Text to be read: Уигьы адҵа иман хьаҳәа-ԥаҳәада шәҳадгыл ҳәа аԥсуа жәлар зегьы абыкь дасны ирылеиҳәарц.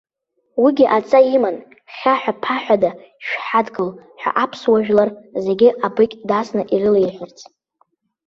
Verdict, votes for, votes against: accepted, 2, 0